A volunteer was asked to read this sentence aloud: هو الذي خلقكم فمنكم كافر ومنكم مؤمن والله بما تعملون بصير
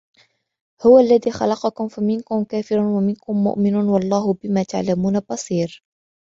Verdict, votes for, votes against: accepted, 2, 0